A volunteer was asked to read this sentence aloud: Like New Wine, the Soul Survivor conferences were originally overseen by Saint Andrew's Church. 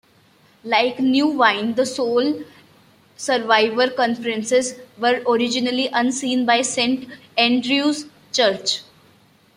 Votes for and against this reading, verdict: 2, 0, accepted